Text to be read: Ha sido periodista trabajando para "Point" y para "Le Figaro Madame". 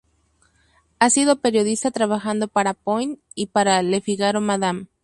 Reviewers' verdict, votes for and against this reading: accepted, 2, 0